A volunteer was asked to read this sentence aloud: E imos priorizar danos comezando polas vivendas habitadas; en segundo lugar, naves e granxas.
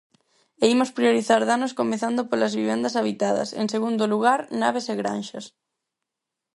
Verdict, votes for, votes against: accepted, 4, 0